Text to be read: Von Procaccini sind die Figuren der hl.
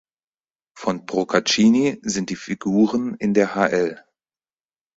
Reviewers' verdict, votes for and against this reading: rejected, 2, 4